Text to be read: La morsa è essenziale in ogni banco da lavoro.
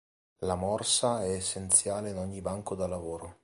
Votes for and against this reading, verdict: 2, 0, accepted